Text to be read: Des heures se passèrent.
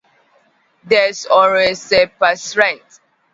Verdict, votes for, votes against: rejected, 1, 2